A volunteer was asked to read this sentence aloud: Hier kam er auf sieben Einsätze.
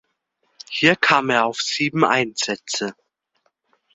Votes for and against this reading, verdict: 2, 0, accepted